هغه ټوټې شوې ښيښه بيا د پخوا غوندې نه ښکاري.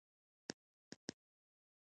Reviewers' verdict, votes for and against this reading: rejected, 0, 2